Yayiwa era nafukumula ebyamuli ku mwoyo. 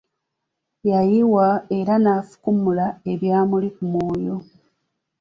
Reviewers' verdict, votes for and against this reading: accepted, 2, 1